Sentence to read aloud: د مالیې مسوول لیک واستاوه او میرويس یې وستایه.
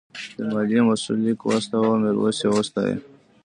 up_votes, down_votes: 1, 2